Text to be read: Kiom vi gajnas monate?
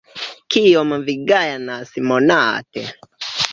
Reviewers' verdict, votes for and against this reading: rejected, 1, 2